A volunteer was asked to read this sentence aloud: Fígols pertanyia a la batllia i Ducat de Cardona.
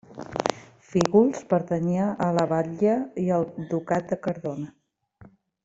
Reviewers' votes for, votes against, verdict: 0, 2, rejected